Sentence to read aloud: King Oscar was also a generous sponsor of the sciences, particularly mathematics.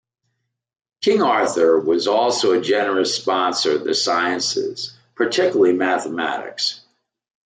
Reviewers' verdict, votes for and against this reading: rejected, 0, 2